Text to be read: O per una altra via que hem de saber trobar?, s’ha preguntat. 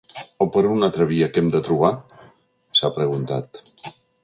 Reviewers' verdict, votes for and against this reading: rejected, 0, 2